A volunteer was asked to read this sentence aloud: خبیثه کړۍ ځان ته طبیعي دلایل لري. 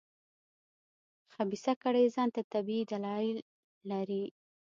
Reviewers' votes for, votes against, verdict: 2, 0, accepted